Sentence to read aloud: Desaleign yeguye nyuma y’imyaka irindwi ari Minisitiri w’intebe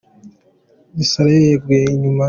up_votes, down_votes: 0, 2